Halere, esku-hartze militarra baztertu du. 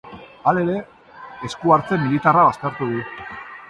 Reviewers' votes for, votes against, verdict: 2, 0, accepted